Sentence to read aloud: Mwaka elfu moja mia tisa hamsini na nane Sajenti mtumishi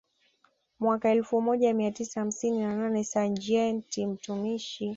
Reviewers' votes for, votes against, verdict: 2, 0, accepted